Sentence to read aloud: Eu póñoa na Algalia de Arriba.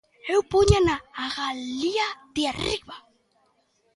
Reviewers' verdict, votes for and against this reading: rejected, 0, 2